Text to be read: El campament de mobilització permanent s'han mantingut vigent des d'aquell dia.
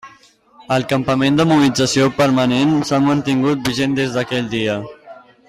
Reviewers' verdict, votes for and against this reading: accepted, 2, 1